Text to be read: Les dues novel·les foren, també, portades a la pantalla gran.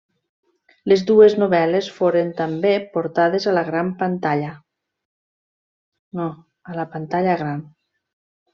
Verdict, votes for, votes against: rejected, 0, 2